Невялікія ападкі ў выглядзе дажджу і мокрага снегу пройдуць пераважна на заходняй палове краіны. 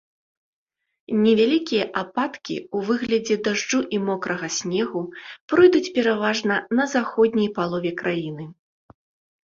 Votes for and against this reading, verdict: 2, 0, accepted